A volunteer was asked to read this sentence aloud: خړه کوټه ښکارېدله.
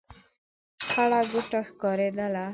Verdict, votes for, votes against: rejected, 1, 2